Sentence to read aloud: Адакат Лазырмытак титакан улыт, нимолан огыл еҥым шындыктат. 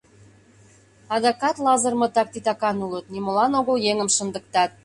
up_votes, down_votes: 2, 0